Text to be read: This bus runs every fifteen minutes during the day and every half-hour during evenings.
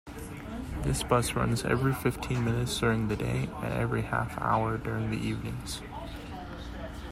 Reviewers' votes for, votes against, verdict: 0, 2, rejected